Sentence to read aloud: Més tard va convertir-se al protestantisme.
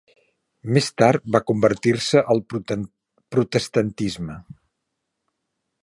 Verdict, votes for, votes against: rejected, 0, 2